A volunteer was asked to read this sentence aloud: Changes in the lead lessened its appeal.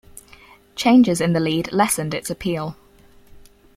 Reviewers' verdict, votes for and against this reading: accepted, 4, 0